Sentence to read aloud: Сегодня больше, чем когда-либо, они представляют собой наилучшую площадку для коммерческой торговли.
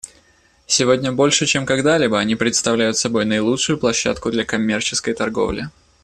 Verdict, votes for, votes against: accepted, 2, 0